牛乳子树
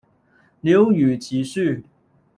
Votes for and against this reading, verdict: 0, 2, rejected